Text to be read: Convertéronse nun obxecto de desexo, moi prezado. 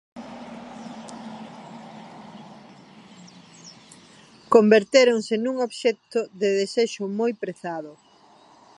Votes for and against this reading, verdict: 2, 1, accepted